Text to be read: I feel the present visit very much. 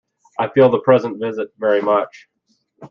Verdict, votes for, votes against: accepted, 2, 0